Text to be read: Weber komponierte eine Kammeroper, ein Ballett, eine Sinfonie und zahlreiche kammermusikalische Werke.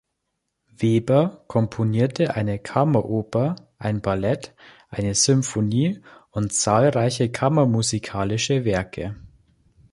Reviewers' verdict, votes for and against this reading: accepted, 2, 0